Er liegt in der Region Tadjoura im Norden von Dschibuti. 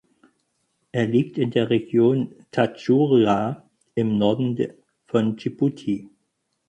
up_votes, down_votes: 0, 4